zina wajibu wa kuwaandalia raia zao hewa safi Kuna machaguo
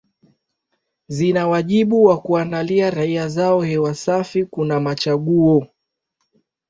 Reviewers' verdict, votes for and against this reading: accepted, 2, 1